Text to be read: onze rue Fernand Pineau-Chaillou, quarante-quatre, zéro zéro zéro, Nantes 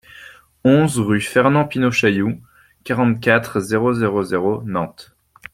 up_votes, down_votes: 2, 0